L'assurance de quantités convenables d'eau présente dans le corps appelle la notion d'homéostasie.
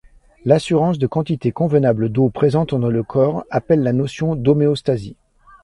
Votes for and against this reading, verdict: 2, 0, accepted